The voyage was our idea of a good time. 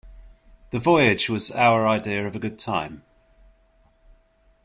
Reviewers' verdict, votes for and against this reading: accepted, 2, 0